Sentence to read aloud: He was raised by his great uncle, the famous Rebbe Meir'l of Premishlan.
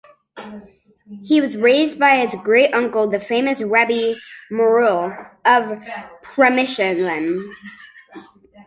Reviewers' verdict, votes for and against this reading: rejected, 0, 2